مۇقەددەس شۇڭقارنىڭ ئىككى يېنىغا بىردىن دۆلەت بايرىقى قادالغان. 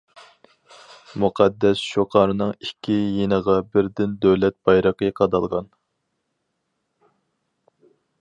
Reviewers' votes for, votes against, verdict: 2, 2, rejected